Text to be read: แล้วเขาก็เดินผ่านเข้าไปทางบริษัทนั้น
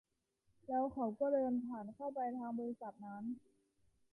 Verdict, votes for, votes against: accepted, 2, 0